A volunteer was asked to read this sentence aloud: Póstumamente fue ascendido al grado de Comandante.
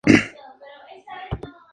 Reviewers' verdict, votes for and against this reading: rejected, 0, 4